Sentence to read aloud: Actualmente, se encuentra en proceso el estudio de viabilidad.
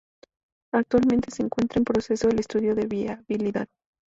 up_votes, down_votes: 0, 2